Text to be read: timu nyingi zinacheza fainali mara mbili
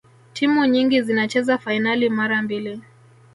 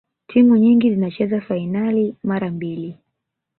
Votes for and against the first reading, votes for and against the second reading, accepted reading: 0, 2, 2, 0, second